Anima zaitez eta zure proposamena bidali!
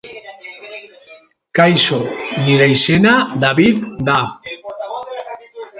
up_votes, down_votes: 1, 2